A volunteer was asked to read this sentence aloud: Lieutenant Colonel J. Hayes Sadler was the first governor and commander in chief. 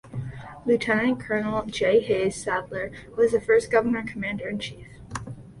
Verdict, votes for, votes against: accepted, 2, 0